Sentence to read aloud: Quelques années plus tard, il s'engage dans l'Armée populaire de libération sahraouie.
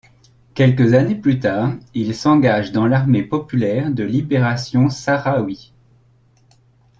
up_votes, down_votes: 2, 0